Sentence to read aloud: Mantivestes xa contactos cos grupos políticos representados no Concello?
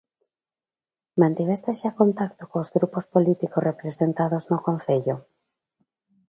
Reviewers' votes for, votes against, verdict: 0, 2, rejected